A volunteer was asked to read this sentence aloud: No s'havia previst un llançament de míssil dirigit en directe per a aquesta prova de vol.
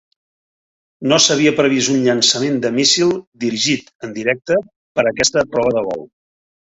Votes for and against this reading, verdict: 2, 0, accepted